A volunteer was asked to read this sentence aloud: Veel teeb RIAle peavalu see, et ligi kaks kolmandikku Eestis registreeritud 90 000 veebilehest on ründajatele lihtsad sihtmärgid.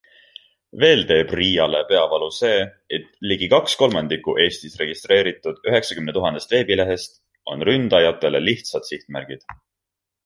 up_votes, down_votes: 0, 2